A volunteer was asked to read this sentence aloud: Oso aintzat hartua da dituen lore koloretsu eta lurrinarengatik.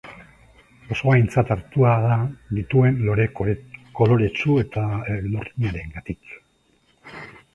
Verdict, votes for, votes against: rejected, 0, 2